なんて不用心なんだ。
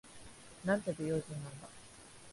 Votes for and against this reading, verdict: 1, 2, rejected